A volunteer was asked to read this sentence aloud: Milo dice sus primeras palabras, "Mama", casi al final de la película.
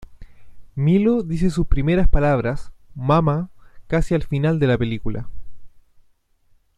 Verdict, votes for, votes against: rejected, 1, 2